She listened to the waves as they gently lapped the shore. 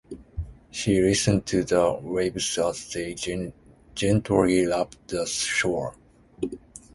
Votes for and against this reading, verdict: 0, 4, rejected